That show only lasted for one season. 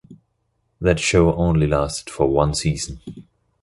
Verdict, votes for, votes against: accepted, 2, 0